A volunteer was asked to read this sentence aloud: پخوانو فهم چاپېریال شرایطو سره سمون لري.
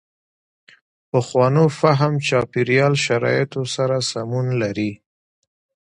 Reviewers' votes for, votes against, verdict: 2, 0, accepted